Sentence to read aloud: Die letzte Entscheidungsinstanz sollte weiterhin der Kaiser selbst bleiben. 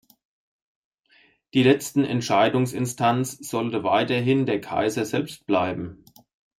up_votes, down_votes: 2, 1